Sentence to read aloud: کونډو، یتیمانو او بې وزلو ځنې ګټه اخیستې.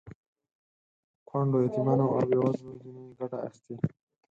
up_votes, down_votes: 2, 4